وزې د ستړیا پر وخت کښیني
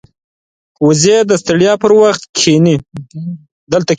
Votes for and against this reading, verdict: 0, 2, rejected